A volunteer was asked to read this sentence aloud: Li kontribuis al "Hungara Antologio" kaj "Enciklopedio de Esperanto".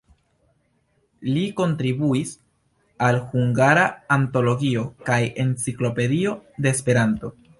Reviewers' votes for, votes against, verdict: 2, 0, accepted